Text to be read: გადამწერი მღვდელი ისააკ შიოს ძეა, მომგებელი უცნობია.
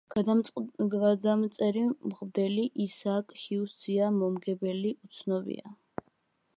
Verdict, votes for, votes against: rejected, 0, 2